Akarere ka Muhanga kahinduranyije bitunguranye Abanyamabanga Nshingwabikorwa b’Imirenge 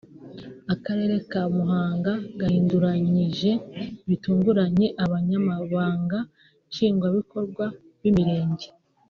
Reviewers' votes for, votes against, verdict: 2, 0, accepted